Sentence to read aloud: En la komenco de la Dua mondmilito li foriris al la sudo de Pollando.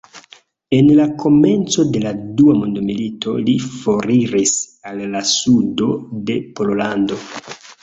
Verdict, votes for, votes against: accepted, 2, 0